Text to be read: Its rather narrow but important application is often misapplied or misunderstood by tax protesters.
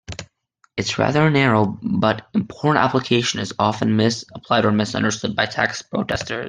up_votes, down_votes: 1, 2